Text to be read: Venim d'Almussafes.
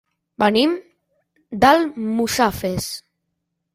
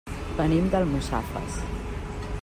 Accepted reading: second